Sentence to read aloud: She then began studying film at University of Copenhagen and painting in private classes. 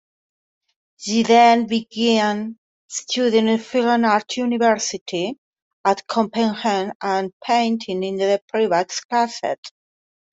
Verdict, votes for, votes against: rejected, 1, 2